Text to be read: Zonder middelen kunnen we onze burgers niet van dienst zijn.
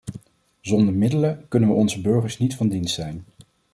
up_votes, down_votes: 2, 0